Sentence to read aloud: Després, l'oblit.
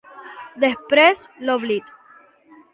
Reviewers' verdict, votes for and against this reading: accepted, 4, 1